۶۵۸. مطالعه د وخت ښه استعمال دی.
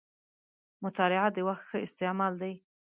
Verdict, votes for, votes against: rejected, 0, 2